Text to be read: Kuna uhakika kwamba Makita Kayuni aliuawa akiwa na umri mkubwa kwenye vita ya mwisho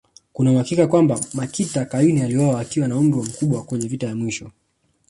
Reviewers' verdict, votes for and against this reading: rejected, 0, 2